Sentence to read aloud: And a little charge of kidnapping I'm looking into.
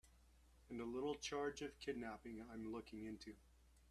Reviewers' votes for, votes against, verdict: 2, 1, accepted